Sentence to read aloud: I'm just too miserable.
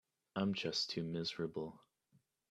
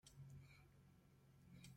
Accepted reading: first